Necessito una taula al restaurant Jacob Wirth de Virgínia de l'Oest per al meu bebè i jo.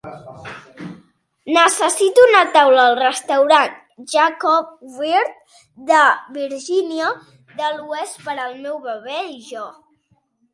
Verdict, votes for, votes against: accepted, 4, 0